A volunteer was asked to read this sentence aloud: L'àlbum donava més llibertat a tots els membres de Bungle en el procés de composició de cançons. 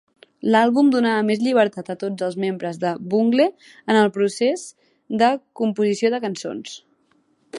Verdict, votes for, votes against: accepted, 2, 0